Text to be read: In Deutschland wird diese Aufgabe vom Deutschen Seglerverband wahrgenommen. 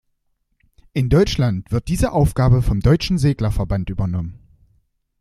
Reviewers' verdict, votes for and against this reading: rejected, 0, 2